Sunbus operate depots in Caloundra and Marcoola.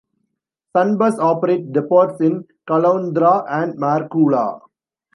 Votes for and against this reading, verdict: 0, 2, rejected